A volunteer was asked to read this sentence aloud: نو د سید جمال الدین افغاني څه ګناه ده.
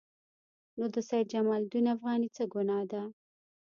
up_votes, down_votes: 2, 0